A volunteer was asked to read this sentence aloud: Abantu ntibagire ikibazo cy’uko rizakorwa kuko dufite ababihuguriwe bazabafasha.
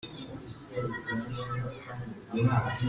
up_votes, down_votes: 0, 3